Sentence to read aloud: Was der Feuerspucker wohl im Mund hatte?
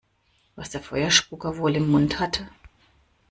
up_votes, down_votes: 2, 0